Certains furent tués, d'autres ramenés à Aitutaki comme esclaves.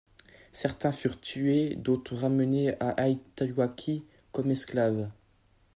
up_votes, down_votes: 1, 2